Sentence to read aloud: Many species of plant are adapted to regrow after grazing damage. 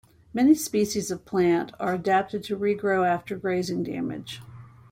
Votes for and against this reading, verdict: 2, 0, accepted